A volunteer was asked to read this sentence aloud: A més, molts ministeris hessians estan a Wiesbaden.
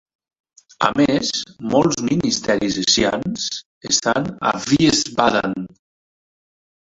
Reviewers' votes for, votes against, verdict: 0, 3, rejected